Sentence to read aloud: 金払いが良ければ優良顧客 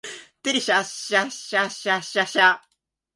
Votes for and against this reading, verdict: 0, 4, rejected